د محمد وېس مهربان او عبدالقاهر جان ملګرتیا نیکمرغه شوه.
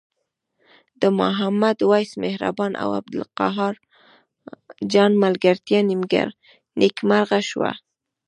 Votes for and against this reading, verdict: 1, 2, rejected